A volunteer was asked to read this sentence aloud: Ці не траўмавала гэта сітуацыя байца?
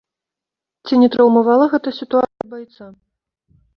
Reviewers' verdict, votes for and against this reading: rejected, 0, 2